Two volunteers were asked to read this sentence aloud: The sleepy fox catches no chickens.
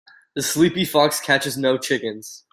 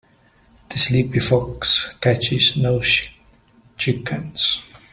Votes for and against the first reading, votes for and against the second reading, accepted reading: 2, 0, 1, 2, first